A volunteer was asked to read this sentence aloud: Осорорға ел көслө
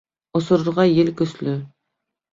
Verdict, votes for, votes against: accepted, 3, 0